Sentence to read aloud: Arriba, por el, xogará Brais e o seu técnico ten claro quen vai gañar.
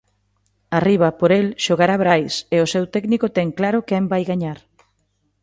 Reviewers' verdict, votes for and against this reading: accepted, 2, 0